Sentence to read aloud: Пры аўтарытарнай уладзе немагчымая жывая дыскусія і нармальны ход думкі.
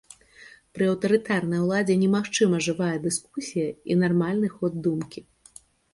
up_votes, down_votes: 1, 2